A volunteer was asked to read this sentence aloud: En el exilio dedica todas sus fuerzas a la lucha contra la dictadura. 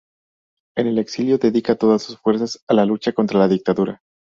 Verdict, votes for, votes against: accepted, 2, 0